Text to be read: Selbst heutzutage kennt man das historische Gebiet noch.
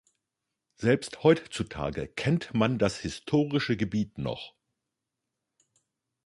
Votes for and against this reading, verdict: 1, 2, rejected